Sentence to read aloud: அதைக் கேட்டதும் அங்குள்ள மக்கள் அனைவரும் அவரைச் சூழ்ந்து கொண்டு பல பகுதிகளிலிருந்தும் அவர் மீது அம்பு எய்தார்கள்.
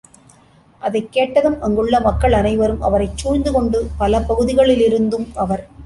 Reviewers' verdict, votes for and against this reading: rejected, 0, 2